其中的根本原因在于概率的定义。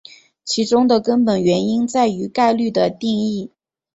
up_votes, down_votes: 9, 0